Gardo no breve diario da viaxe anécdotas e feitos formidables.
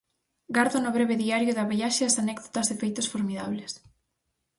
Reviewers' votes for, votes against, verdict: 0, 4, rejected